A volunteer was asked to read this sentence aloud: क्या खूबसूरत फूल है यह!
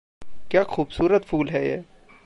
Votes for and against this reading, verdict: 2, 0, accepted